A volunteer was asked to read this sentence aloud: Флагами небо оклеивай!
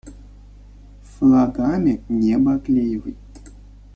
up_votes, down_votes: 1, 2